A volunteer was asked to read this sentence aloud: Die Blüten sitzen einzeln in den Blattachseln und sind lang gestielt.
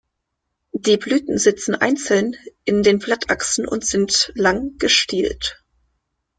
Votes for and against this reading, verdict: 0, 2, rejected